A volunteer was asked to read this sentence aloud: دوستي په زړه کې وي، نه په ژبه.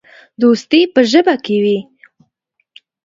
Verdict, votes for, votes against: rejected, 0, 2